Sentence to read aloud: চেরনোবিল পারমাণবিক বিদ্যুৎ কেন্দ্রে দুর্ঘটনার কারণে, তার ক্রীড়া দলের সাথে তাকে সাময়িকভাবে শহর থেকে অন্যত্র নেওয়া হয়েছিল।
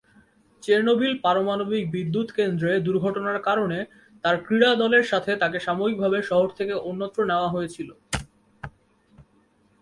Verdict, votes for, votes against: accepted, 8, 0